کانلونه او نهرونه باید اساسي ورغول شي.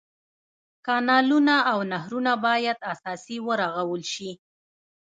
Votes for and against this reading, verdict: 1, 2, rejected